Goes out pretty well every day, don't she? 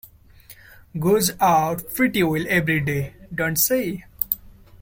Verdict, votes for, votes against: rejected, 1, 2